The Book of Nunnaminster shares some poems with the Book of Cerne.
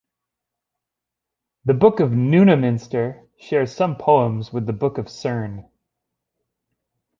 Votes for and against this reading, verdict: 2, 1, accepted